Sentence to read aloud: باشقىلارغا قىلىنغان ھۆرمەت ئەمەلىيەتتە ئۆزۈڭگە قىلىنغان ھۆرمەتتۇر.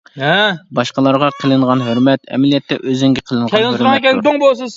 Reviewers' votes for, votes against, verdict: 0, 2, rejected